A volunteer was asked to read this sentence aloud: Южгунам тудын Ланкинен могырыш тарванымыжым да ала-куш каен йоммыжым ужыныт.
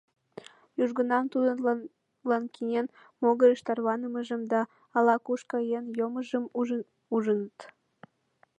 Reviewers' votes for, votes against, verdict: 1, 2, rejected